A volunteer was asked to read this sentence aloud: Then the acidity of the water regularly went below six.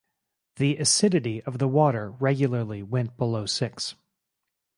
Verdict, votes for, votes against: rejected, 2, 4